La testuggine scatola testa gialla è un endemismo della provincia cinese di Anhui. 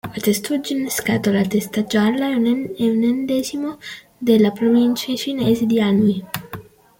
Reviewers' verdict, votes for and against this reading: rejected, 0, 2